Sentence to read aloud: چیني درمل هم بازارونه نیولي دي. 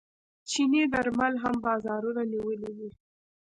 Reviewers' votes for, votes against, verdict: 1, 2, rejected